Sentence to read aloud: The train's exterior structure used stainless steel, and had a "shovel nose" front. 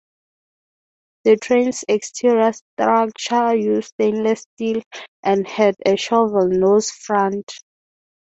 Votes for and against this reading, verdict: 3, 0, accepted